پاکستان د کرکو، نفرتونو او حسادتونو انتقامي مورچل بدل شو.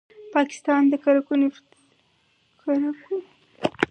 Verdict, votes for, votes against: rejected, 0, 4